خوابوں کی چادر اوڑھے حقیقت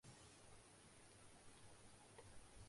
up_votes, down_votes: 0, 2